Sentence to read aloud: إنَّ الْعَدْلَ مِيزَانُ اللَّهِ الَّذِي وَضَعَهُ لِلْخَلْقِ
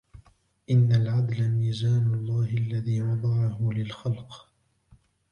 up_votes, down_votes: 1, 2